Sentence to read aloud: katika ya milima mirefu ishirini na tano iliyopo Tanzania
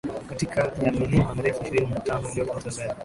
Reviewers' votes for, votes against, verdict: 2, 0, accepted